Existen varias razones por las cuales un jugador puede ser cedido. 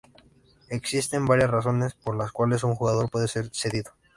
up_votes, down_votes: 2, 0